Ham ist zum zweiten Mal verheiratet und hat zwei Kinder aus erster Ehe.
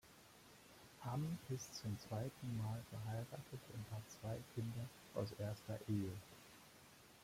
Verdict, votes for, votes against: accepted, 2, 0